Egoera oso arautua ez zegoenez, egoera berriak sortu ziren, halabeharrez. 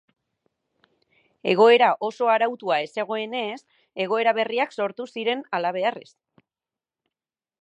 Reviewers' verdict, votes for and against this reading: accepted, 2, 0